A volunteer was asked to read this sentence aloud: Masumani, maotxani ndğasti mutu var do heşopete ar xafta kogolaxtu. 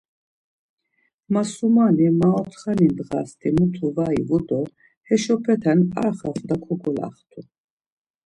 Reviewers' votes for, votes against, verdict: 0, 2, rejected